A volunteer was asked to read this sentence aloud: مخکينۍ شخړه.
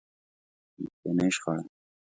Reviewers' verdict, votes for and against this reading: rejected, 1, 2